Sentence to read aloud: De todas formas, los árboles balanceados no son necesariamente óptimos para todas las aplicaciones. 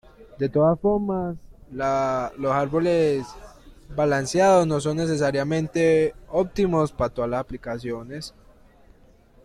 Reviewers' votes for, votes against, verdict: 1, 2, rejected